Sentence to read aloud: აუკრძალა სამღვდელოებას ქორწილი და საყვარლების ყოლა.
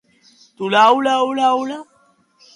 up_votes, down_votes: 0, 2